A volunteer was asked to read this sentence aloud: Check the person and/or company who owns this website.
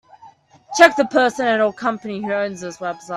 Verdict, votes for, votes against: rejected, 1, 2